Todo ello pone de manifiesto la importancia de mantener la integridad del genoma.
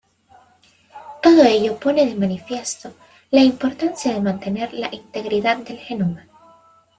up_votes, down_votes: 2, 0